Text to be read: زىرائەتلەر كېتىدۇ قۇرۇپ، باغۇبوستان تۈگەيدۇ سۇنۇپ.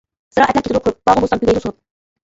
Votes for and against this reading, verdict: 0, 2, rejected